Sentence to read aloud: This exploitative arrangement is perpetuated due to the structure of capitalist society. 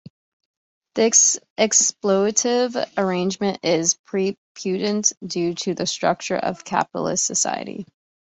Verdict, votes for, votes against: rejected, 1, 2